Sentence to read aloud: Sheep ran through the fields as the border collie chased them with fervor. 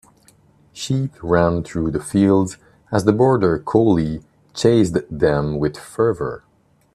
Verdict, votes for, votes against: accepted, 2, 1